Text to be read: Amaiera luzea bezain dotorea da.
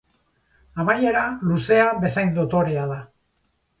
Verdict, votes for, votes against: accepted, 6, 0